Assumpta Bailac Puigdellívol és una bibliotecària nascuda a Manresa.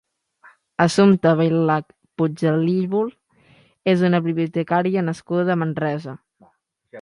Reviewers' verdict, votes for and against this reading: accepted, 3, 0